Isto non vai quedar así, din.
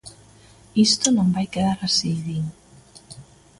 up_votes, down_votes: 2, 0